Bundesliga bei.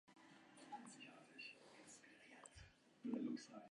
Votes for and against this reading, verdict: 0, 2, rejected